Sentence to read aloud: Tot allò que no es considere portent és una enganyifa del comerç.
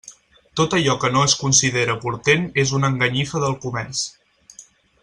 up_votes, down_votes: 4, 0